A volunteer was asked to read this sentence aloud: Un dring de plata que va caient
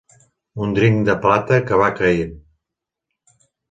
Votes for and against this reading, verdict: 2, 0, accepted